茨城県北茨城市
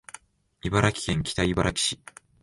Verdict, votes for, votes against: accepted, 2, 0